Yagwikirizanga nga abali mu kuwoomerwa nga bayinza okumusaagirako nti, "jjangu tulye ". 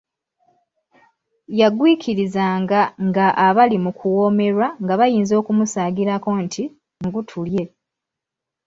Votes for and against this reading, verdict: 2, 0, accepted